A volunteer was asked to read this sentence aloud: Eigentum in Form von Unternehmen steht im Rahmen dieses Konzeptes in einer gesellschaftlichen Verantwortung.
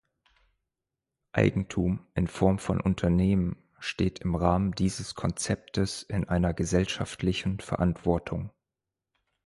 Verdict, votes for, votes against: accepted, 2, 0